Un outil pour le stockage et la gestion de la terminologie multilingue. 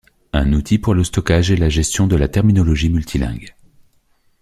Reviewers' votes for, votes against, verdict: 3, 0, accepted